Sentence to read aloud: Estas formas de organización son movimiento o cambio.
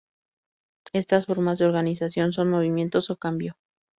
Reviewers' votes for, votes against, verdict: 0, 2, rejected